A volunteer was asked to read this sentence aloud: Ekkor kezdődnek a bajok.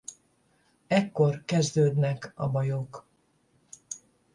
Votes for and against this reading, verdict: 10, 0, accepted